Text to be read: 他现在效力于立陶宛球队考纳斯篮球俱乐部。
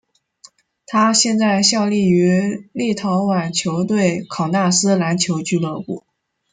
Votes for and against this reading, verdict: 2, 0, accepted